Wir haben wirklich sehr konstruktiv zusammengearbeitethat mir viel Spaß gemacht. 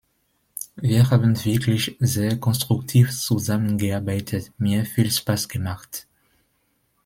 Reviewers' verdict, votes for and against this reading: rejected, 0, 2